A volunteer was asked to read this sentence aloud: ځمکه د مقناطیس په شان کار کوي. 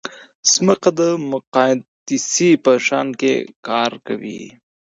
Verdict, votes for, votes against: accepted, 2, 0